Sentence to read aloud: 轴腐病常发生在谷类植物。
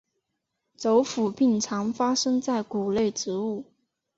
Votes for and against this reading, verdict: 3, 0, accepted